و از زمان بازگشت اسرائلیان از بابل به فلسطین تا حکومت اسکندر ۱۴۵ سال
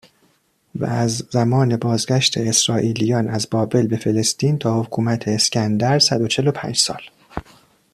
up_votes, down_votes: 0, 2